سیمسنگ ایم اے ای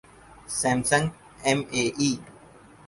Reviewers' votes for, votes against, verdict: 4, 0, accepted